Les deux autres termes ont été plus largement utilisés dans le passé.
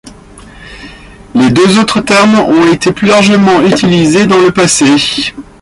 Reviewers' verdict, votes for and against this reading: accepted, 2, 1